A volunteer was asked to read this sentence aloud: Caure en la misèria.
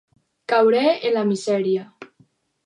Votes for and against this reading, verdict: 0, 4, rejected